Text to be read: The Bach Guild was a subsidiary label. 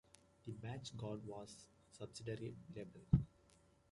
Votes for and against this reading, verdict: 0, 2, rejected